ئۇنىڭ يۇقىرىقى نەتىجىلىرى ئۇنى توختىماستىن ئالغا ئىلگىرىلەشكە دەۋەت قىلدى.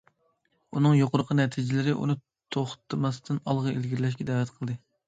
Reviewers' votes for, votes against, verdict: 2, 0, accepted